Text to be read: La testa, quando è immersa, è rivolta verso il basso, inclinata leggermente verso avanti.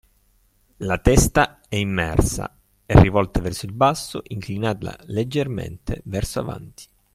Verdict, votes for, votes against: rejected, 1, 2